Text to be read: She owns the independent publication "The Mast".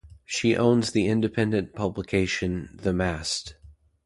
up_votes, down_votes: 2, 0